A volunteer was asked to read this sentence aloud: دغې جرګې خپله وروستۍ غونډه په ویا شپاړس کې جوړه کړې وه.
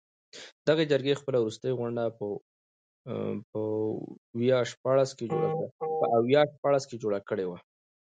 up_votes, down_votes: 2, 0